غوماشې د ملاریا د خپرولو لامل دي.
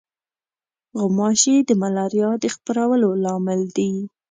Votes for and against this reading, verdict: 3, 0, accepted